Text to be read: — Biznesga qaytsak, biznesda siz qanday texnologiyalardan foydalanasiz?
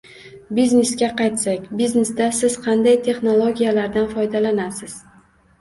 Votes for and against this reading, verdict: 1, 2, rejected